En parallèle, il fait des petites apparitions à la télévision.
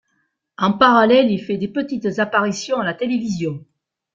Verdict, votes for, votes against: accepted, 2, 0